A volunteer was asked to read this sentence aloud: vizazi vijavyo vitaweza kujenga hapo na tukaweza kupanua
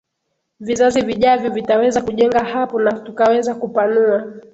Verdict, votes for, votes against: accepted, 2, 0